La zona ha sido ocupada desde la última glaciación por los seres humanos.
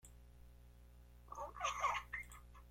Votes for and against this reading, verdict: 0, 2, rejected